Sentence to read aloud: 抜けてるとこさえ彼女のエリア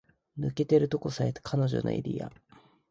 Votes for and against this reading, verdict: 3, 0, accepted